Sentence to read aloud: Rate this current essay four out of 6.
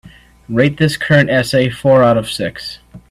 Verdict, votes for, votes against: rejected, 0, 2